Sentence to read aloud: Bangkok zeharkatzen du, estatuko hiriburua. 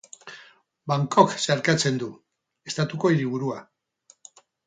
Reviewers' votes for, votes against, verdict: 4, 0, accepted